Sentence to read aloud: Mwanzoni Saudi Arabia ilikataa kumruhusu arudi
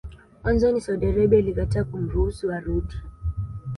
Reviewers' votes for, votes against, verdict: 2, 0, accepted